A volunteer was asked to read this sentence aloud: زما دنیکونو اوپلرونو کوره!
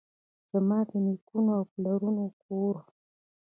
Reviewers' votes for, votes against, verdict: 0, 2, rejected